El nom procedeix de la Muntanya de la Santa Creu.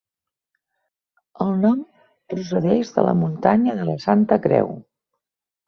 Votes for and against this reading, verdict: 2, 1, accepted